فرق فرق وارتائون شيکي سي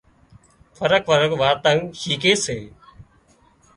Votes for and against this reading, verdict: 1, 2, rejected